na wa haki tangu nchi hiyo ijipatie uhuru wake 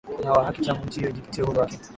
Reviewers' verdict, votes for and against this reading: rejected, 0, 2